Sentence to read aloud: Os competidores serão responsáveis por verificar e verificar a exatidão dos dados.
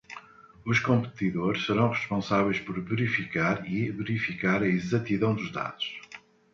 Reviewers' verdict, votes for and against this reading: accepted, 2, 0